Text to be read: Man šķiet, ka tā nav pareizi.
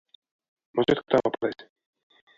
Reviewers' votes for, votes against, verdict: 0, 2, rejected